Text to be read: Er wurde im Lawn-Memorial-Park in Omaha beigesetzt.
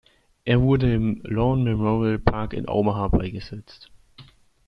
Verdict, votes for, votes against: accepted, 2, 0